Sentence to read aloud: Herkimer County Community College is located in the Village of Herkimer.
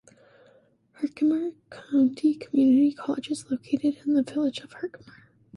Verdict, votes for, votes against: rejected, 1, 2